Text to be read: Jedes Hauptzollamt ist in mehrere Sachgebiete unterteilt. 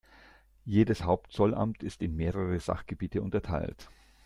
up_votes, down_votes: 2, 0